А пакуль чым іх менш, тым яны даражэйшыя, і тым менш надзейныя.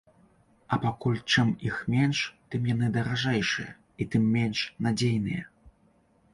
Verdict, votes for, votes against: accepted, 2, 0